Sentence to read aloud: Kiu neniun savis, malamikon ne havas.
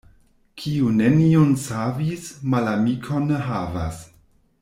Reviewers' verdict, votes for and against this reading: rejected, 1, 2